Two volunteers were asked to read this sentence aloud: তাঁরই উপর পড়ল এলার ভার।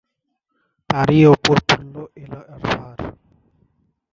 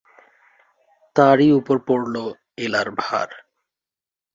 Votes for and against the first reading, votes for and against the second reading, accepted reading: 0, 2, 2, 0, second